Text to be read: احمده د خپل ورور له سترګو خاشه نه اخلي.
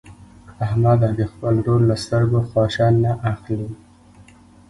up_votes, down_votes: 0, 2